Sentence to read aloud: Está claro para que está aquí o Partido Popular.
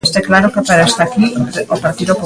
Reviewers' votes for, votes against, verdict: 0, 2, rejected